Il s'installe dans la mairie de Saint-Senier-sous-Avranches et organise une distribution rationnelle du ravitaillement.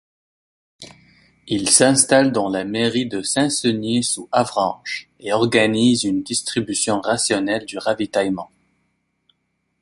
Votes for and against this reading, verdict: 2, 0, accepted